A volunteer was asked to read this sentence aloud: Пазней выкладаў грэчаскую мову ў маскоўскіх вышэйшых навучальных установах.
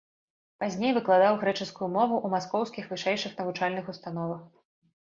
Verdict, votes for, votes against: accepted, 2, 0